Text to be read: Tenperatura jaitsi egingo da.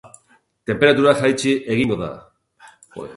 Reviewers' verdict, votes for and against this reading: rejected, 0, 2